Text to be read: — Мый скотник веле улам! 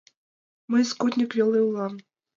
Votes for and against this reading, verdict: 2, 0, accepted